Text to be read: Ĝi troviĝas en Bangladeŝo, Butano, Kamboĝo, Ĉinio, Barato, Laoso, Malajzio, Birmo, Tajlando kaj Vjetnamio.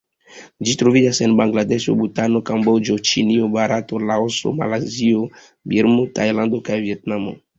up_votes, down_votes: 2, 0